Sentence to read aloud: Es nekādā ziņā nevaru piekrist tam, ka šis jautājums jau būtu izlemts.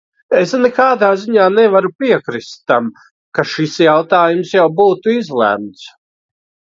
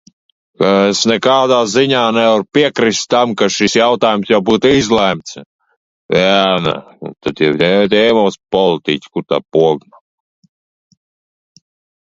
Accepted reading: first